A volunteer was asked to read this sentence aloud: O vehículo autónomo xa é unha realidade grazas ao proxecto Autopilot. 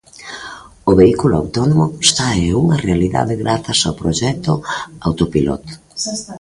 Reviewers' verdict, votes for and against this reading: rejected, 1, 2